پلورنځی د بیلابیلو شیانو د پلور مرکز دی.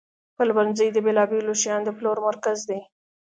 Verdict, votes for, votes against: accepted, 2, 0